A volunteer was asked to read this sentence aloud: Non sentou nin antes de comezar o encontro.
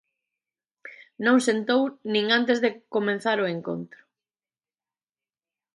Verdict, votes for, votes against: rejected, 0, 2